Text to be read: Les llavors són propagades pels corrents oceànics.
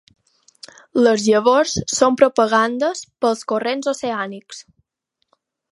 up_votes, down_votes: 0, 4